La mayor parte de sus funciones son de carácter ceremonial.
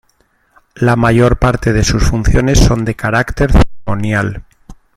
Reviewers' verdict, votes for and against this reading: rejected, 1, 2